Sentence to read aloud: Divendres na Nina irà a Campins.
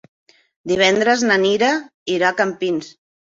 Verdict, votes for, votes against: rejected, 1, 2